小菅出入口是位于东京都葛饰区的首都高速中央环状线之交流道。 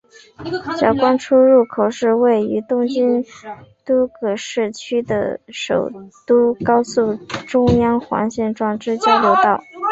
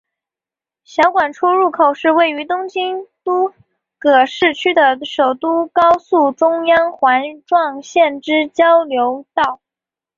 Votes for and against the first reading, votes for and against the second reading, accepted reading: 0, 2, 2, 0, second